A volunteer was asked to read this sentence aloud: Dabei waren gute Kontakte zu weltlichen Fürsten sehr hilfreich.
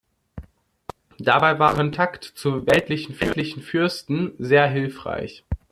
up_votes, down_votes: 0, 2